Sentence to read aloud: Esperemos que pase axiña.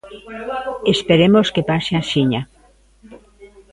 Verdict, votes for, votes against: rejected, 1, 2